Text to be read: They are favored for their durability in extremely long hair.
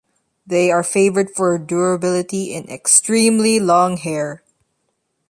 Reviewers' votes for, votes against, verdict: 1, 2, rejected